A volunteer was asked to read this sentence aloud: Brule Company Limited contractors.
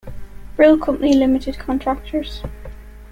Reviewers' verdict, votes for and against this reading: accepted, 2, 1